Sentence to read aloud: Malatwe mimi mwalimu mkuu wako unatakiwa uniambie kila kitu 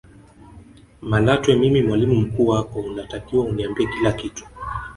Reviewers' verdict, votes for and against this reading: rejected, 0, 2